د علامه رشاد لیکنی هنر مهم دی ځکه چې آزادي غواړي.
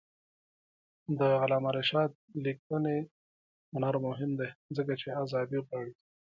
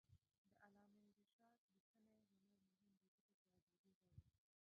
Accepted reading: first